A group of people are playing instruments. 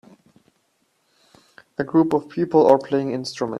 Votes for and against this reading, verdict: 0, 2, rejected